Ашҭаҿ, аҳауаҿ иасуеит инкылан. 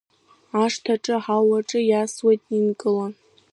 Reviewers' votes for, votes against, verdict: 1, 2, rejected